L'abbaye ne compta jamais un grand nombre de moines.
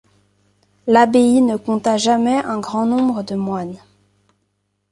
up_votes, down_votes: 2, 0